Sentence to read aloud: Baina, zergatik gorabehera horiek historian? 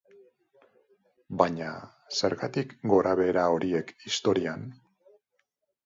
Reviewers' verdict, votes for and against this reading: accepted, 6, 0